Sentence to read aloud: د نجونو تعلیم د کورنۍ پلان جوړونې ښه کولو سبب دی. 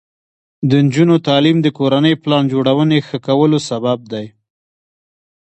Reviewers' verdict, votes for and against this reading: rejected, 0, 2